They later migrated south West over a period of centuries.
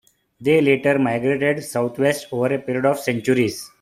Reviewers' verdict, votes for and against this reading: accepted, 2, 0